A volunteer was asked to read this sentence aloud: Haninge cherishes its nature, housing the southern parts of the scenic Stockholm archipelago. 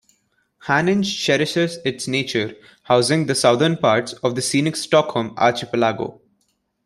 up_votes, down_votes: 2, 1